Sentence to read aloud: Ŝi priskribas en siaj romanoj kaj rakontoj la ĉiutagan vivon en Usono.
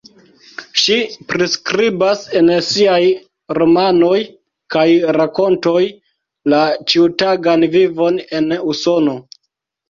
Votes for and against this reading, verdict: 2, 1, accepted